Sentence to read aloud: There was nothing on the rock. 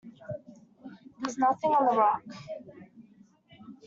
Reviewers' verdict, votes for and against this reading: rejected, 0, 2